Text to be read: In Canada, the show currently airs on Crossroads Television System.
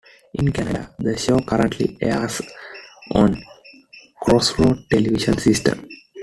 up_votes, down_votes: 2, 0